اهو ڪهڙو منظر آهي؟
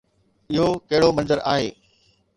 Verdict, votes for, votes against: accepted, 2, 0